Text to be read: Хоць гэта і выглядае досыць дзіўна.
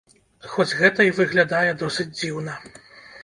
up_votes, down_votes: 2, 0